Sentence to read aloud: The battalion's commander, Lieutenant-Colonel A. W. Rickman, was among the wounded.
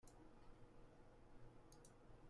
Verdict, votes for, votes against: rejected, 0, 2